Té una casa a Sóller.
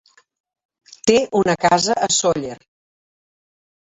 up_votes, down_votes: 3, 1